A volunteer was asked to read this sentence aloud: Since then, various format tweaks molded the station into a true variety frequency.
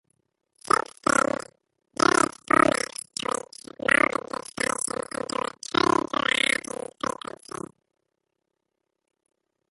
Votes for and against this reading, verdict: 0, 2, rejected